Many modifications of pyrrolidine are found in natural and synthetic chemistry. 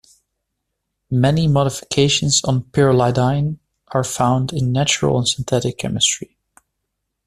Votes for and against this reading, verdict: 1, 2, rejected